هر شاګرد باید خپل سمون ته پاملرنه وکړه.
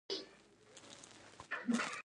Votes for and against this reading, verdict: 0, 2, rejected